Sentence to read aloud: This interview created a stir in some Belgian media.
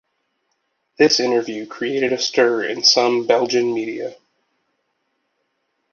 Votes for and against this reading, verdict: 2, 0, accepted